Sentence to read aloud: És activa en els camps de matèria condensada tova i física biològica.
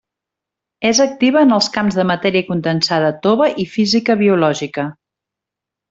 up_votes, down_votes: 3, 1